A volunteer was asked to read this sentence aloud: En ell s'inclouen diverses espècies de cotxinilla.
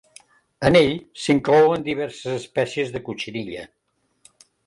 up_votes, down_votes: 2, 0